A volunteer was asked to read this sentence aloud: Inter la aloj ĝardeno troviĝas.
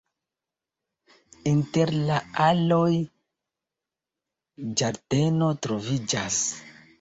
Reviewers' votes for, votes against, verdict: 0, 2, rejected